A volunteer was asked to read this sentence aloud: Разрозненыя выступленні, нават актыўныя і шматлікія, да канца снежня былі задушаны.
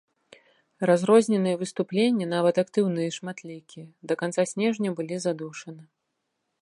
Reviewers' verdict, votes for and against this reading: accepted, 2, 0